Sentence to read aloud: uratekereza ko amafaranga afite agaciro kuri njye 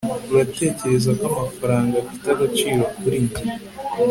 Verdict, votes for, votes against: accepted, 3, 0